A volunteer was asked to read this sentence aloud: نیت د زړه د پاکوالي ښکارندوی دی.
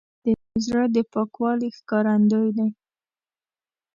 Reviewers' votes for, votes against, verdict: 0, 2, rejected